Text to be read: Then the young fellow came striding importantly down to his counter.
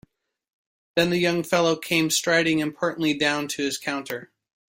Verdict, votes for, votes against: accepted, 2, 0